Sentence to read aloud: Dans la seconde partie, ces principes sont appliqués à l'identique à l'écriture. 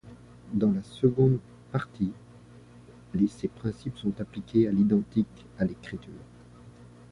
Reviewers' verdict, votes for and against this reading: rejected, 0, 2